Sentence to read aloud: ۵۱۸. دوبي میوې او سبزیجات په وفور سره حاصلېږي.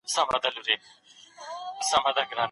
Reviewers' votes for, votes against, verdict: 0, 2, rejected